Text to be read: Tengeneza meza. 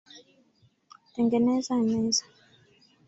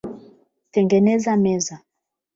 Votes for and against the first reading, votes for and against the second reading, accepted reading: 2, 3, 8, 0, second